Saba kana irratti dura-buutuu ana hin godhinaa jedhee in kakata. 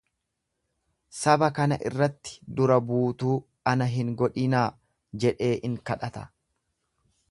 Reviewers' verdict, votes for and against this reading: rejected, 1, 2